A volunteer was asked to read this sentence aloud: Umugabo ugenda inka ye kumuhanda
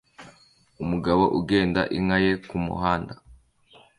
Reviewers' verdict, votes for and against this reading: accepted, 2, 0